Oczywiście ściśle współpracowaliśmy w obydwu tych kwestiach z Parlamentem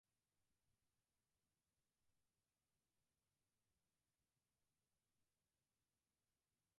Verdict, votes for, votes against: rejected, 0, 2